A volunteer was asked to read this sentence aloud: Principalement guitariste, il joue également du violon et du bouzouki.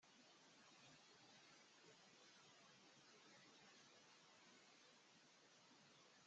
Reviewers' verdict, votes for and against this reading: rejected, 1, 2